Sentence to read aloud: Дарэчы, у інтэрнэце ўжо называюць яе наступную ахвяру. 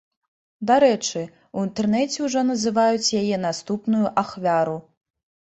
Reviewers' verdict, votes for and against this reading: accepted, 2, 0